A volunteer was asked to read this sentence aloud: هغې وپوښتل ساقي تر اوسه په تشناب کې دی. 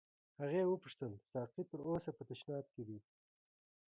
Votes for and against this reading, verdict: 2, 0, accepted